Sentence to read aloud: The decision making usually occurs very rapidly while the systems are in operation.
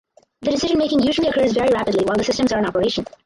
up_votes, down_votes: 0, 4